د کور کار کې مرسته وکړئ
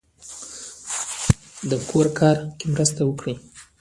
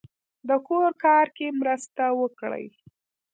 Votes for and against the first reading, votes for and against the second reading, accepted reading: 0, 2, 2, 1, second